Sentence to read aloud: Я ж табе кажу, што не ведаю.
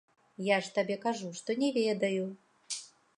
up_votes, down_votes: 2, 0